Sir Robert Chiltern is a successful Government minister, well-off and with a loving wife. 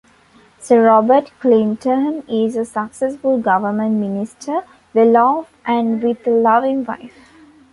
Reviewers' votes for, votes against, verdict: 1, 2, rejected